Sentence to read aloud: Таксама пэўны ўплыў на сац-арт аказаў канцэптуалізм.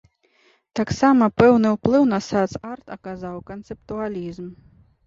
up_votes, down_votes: 2, 0